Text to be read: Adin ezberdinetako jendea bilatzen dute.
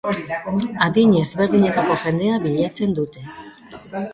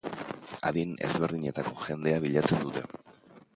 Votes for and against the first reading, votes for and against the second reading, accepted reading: 1, 2, 2, 0, second